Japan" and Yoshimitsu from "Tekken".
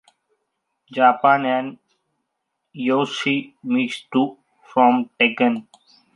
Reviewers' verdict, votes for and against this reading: accepted, 2, 0